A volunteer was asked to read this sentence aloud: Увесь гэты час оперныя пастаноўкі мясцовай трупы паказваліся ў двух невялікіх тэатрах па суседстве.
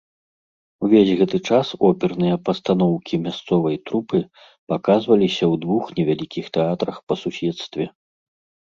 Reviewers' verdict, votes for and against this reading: accepted, 2, 0